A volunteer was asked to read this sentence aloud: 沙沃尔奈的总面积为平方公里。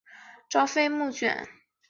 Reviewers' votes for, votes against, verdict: 0, 2, rejected